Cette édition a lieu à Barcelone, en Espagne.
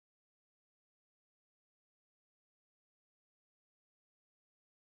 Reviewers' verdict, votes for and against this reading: rejected, 1, 2